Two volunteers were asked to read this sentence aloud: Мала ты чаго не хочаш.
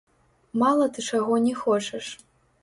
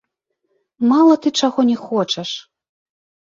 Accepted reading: second